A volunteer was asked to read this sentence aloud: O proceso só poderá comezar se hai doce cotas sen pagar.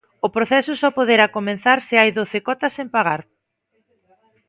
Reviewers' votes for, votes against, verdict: 2, 3, rejected